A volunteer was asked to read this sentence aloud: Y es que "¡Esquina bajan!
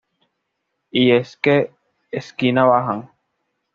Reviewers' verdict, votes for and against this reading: accepted, 2, 0